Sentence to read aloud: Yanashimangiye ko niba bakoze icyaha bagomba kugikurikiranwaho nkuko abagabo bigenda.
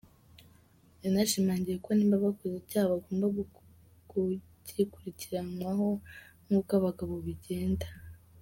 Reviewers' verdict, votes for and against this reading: rejected, 0, 2